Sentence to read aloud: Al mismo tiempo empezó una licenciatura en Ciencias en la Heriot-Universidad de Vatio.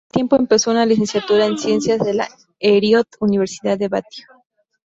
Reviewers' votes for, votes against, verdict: 0, 2, rejected